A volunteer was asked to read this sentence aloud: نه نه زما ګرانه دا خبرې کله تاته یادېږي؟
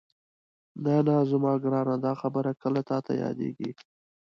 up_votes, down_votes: 2, 0